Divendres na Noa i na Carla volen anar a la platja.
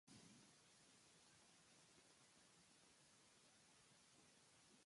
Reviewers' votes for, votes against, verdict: 0, 2, rejected